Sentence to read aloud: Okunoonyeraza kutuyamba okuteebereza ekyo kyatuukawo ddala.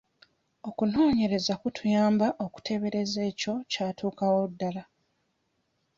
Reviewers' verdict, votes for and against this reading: rejected, 1, 2